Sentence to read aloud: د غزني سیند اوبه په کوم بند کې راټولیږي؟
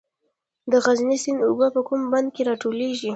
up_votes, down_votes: 0, 2